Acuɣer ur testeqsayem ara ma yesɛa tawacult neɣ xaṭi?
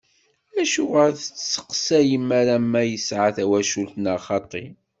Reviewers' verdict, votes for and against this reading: rejected, 1, 2